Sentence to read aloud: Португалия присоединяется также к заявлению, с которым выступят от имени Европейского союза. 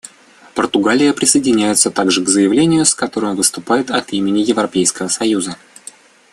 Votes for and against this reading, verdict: 2, 1, accepted